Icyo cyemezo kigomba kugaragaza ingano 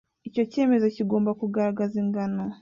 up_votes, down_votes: 2, 0